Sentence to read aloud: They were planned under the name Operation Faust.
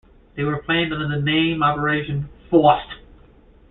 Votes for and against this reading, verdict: 0, 2, rejected